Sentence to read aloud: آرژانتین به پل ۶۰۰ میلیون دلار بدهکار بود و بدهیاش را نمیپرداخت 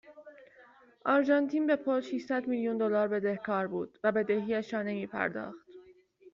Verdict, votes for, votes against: rejected, 0, 2